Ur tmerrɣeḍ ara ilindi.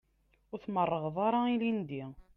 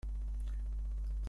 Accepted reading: first